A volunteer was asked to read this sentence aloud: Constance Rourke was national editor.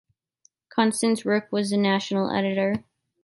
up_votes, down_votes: 2, 0